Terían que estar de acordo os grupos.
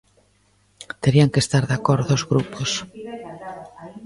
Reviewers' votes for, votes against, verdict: 1, 2, rejected